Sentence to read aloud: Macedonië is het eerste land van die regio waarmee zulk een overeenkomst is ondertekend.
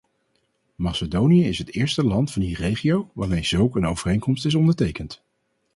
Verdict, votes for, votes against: accepted, 4, 0